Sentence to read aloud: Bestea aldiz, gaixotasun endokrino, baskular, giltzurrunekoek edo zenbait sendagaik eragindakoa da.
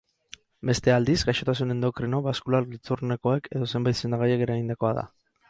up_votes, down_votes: 4, 0